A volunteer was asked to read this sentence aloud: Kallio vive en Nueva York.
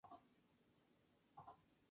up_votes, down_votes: 0, 2